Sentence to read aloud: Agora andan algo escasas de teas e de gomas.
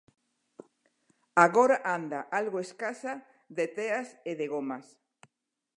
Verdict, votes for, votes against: rejected, 0, 2